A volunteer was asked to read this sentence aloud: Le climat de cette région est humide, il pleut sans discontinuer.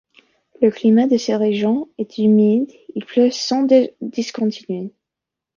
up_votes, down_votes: 0, 2